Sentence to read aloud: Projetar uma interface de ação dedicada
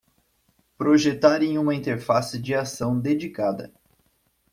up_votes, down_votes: 0, 2